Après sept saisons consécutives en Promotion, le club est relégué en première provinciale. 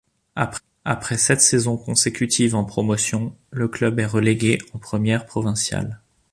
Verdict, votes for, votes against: rejected, 0, 2